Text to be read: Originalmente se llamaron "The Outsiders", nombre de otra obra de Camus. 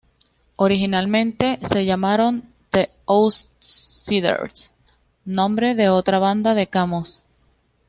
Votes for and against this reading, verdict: 2, 0, accepted